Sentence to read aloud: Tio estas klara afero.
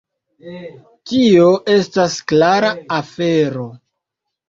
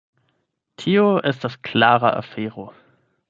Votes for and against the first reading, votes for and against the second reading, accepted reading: 2, 1, 4, 8, first